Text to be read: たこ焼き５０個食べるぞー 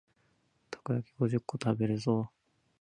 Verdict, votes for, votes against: rejected, 0, 2